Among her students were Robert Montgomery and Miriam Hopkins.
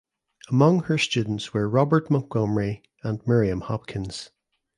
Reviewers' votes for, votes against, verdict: 2, 0, accepted